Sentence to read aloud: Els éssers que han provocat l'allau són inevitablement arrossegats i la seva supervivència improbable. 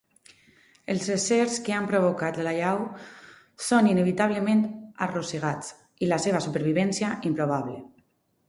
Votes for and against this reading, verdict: 2, 2, rejected